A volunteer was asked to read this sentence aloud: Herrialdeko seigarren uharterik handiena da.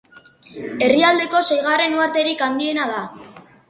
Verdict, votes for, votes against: accepted, 2, 0